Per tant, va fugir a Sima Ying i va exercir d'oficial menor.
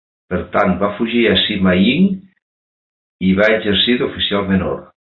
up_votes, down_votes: 2, 0